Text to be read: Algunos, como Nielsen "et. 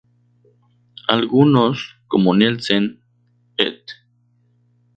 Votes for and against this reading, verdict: 4, 0, accepted